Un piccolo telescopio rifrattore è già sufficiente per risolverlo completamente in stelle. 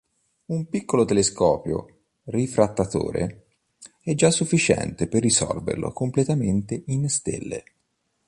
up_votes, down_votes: 1, 2